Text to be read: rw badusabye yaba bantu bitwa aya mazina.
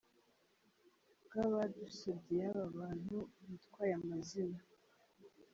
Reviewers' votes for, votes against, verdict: 1, 2, rejected